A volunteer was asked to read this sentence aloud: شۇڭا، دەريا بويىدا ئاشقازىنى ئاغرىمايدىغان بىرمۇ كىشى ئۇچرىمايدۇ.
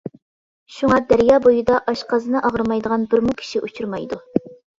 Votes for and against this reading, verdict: 2, 0, accepted